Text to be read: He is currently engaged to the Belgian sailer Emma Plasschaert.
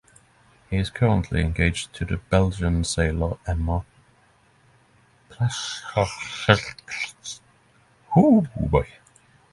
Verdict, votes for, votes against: rejected, 0, 3